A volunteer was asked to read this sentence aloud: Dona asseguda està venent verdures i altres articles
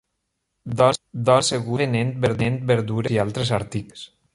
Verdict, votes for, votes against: rejected, 0, 2